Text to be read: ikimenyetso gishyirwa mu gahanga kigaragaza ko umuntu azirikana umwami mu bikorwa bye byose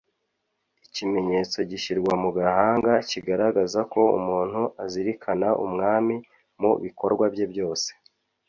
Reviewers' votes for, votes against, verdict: 2, 0, accepted